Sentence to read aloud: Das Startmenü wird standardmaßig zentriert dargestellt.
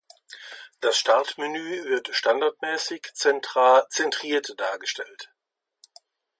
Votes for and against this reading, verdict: 0, 2, rejected